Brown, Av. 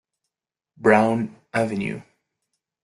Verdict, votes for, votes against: rejected, 1, 2